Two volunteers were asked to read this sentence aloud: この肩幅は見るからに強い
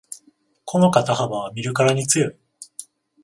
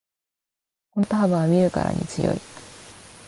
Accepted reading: second